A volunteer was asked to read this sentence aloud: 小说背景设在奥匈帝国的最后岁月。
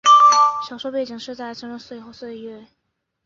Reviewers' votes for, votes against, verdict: 3, 1, accepted